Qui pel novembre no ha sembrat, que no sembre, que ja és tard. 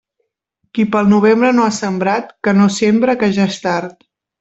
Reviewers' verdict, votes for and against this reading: rejected, 1, 2